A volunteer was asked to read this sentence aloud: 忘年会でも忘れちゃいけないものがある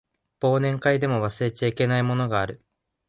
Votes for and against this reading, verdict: 2, 0, accepted